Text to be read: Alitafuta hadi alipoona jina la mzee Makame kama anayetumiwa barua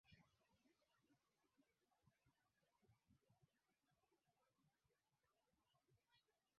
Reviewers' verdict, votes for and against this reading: rejected, 0, 2